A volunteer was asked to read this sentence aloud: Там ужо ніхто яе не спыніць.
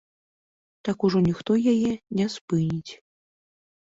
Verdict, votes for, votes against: rejected, 1, 2